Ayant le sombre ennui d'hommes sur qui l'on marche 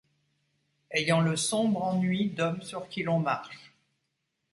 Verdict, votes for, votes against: accepted, 2, 0